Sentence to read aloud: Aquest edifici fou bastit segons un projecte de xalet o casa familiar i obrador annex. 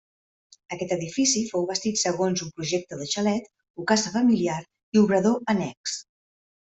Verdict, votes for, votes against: accepted, 2, 0